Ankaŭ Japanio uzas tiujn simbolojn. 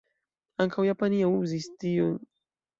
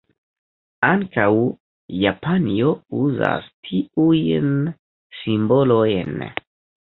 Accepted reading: first